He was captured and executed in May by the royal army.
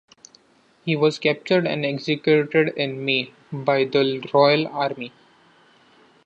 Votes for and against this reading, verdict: 1, 2, rejected